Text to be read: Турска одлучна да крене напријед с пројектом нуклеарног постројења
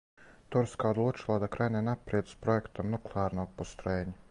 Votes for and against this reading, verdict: 2, 2, rejected